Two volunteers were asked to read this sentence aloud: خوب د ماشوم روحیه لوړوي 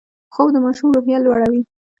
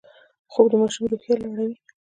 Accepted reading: first